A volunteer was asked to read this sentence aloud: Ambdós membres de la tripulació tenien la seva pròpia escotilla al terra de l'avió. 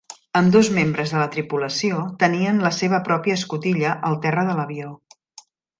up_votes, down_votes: 2, 0